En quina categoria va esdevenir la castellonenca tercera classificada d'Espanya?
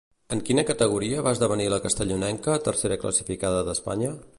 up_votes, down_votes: 2, 0